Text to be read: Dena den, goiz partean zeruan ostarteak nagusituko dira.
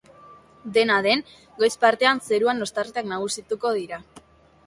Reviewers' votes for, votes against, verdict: 0, 2, rejected